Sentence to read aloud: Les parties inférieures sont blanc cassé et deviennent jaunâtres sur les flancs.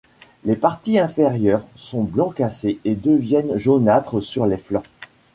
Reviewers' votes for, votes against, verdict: 2, 0, accepted